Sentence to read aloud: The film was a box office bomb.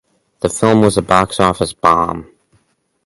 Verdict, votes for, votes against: rejected, 0, 2